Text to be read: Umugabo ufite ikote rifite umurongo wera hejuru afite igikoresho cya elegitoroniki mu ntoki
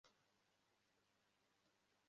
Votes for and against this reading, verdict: 0, 2, rejected